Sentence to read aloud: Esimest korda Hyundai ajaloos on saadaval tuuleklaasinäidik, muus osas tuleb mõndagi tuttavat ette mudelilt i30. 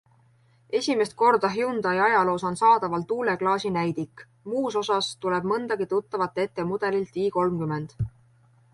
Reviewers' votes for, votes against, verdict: 0, 2, rejected